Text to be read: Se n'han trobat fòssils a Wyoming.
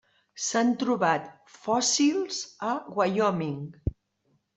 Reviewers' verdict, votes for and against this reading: rejected, 0, 2